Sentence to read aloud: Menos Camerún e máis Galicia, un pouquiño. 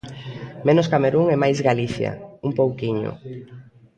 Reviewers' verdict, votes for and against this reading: accepted, 2, 0